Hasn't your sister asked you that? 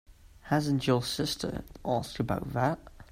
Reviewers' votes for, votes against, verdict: 0, 2, rejected